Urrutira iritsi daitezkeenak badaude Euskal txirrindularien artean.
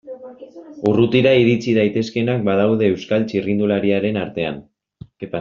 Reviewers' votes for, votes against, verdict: 0, 2, rejected